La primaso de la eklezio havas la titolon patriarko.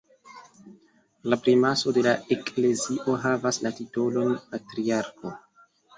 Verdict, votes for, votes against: accepted, 2, 0